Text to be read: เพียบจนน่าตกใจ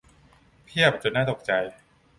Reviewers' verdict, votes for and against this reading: accepted, 2, 0